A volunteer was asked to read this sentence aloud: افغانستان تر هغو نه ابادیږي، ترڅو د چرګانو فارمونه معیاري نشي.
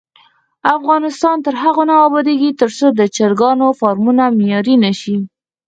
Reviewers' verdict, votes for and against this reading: rejected, 2, 4